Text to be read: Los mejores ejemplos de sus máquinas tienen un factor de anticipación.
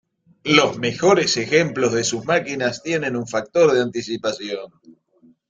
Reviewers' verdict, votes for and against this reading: accepted, 2, 0